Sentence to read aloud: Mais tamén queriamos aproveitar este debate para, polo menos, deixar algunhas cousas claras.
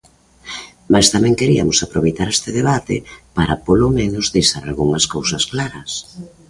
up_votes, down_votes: 0, 2